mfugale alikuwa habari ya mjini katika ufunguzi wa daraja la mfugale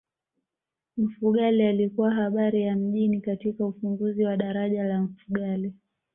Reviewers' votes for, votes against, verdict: 2, 0, accepted